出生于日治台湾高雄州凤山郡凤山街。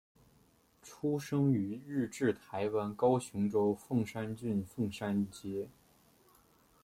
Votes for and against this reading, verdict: 2, 1, accepted